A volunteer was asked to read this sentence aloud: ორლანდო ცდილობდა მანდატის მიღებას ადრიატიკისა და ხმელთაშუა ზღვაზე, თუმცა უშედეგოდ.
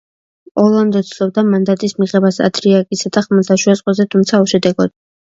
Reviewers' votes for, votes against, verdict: 0, 2, rejected